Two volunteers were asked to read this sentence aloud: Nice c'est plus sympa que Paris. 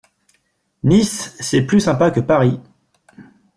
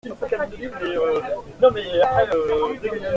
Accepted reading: first